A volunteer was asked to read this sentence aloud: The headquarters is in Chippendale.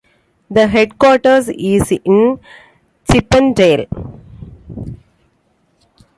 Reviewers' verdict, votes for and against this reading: accepted, 2, 0